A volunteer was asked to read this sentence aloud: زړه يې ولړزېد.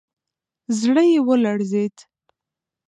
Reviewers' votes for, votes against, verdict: 2, 1, accepted